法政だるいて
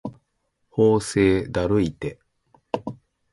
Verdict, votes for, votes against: accepted, 2, 0